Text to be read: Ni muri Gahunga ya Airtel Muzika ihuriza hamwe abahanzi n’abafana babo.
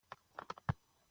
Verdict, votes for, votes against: rejected, 0, 2